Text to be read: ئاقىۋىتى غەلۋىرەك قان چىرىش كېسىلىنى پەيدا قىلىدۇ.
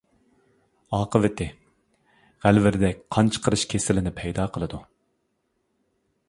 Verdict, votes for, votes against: rejected, 0, 2